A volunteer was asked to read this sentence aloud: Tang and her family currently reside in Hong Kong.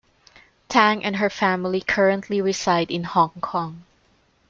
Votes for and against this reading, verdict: 2, 0, accepted